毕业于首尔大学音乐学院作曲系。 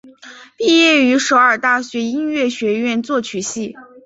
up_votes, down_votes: 4, 0